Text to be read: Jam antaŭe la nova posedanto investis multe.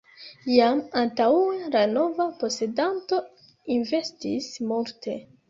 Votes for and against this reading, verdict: 1, 2, rejected